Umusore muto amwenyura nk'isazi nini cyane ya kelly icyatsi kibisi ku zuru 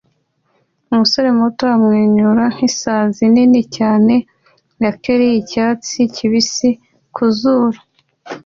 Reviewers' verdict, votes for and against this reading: accepted, 2, 0